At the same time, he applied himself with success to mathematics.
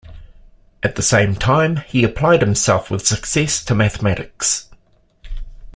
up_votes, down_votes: 2, 0